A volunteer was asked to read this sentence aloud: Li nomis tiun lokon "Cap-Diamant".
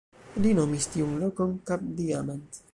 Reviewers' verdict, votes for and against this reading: accepted, 2, 1